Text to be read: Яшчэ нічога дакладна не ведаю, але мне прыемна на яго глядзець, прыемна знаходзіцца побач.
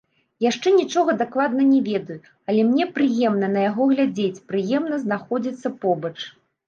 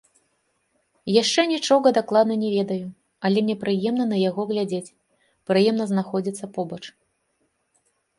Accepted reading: second